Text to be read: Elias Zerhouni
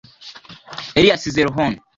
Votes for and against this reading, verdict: 0, 2, rejected